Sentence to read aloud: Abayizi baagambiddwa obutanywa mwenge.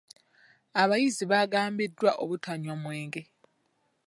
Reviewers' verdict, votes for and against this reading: accepted, 2, 0